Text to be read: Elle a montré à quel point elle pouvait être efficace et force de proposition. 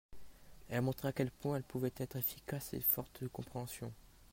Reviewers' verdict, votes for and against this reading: rejected, 0, 2